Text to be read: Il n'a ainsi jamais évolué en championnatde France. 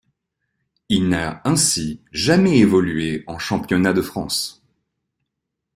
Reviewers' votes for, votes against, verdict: 0, 2, rejected